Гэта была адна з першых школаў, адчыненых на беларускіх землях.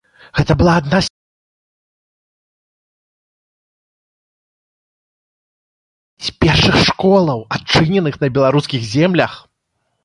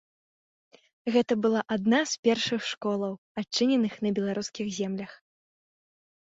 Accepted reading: second